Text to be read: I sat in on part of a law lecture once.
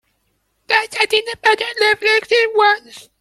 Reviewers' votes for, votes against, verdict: 0, 2, rejected